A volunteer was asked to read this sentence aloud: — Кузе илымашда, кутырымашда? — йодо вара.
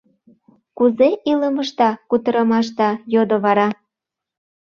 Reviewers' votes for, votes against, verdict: 1, 2, rejected